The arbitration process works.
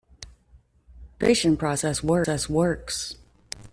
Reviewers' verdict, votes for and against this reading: rejected, 0, 2